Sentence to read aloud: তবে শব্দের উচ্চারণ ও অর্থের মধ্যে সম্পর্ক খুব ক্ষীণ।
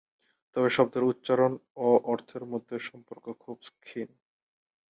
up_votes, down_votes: 6, 20